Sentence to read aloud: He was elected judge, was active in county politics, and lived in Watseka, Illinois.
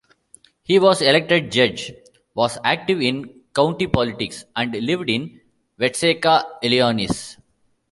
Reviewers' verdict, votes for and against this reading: accepted, 2, 0